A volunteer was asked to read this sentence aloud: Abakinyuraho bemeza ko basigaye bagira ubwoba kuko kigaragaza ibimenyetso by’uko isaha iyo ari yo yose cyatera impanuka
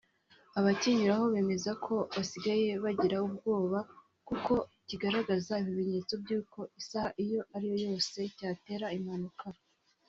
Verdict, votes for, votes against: accepted, 2, 0